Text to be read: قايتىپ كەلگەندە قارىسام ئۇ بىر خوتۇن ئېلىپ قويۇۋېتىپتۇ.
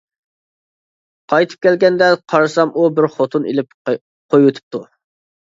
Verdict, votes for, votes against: rejected, 1, 2